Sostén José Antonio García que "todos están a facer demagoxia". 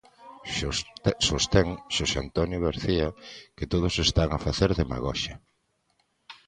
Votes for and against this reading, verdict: 1, 2, rejected